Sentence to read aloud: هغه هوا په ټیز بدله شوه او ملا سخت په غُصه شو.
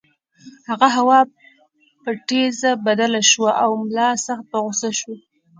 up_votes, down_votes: 1, 2